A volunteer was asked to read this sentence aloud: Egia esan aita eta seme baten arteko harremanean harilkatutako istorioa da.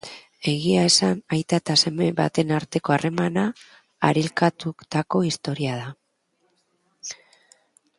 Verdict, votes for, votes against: rejected, 0, 2